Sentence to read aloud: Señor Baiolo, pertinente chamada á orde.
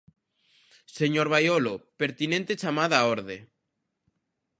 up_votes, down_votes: 2, 0